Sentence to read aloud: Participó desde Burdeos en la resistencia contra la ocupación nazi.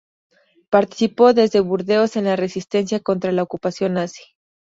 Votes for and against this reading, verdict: 2, 0, accepted